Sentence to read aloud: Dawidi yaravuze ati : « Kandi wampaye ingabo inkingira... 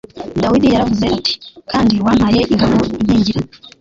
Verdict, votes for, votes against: rejected, 0, 2